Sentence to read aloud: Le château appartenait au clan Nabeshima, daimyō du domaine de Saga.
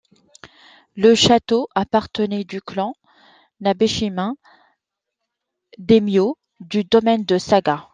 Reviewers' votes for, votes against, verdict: 2, 1, accepted